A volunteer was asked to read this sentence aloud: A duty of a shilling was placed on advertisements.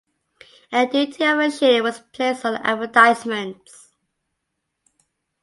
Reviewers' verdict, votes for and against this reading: rejected, 1, 2